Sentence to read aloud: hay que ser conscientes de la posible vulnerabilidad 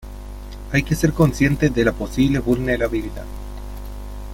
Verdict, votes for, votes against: rejected, 0, 2